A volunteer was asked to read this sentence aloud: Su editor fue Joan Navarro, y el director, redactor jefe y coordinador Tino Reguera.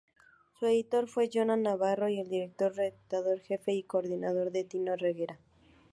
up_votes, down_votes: 0, 2